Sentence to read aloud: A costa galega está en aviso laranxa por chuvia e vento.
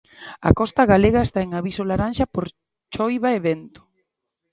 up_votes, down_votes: 0, 2